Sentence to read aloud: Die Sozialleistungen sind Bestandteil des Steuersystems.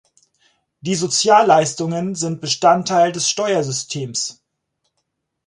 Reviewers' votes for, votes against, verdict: 4, 0, accepted